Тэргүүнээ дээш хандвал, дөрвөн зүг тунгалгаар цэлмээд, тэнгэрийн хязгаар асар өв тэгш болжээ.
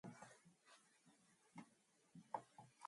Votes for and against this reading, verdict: 2, 2, rejected